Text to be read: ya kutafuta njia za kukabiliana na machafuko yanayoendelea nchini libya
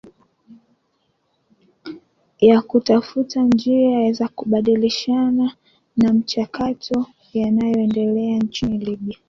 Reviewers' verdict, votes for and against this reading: rejected, 0, 2